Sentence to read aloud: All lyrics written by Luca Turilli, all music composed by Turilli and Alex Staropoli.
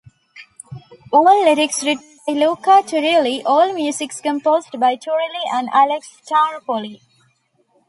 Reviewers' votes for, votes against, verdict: 0, 2, rejected